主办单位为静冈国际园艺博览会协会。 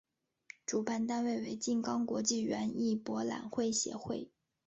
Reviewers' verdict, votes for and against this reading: accepted, 3, 1